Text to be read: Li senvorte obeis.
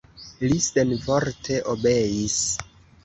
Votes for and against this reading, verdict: 1, 2, rejected